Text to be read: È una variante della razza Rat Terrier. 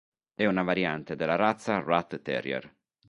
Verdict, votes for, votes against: accepted, 2, 0